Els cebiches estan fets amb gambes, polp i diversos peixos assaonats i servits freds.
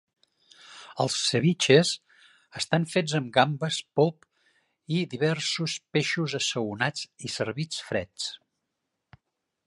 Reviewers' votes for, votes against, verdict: 2, 0, accepted